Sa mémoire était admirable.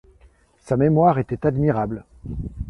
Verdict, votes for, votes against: accepted, 2, 0